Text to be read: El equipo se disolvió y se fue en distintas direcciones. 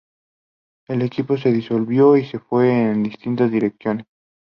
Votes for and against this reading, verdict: 2, 0, accepted